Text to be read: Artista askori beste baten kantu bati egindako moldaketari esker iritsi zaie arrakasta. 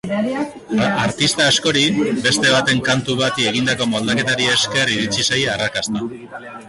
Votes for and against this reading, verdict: 0, 2, rejected